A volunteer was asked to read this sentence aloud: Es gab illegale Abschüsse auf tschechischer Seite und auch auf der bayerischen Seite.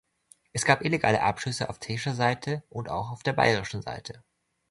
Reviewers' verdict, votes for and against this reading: rejected, 0, 2